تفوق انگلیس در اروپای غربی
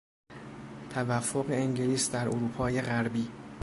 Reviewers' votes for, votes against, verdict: 1, 2, rejected